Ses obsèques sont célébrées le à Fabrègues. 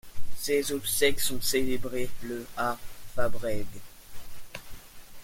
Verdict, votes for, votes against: accepted, 2, 0